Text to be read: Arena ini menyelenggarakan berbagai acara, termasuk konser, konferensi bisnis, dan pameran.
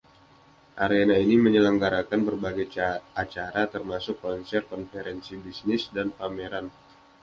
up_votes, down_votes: 2, 0